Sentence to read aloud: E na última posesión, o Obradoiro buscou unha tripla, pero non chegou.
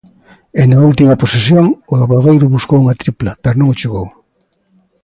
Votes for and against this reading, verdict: 2, 0, accepted